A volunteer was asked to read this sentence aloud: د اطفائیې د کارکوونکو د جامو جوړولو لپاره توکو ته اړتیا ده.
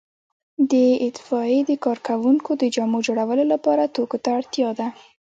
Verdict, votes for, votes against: rejected, 1, 2